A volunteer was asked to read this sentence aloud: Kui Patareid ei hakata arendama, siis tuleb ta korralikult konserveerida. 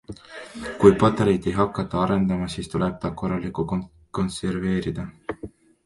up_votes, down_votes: 1, 2